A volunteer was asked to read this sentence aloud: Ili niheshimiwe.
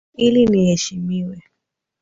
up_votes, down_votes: 9, 4